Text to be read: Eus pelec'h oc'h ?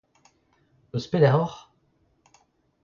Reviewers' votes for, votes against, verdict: 2, 1, accepted